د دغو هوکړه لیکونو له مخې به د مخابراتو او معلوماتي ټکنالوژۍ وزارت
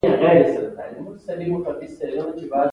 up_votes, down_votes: 0, 2